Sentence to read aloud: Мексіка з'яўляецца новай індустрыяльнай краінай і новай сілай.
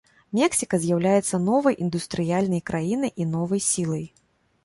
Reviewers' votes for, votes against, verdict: 0, 2, rejected